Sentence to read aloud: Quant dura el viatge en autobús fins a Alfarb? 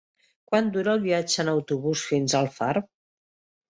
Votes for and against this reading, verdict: 4, 0, accepted